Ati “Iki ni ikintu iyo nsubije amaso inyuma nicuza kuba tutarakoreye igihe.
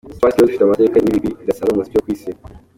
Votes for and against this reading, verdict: 0, 2, rejected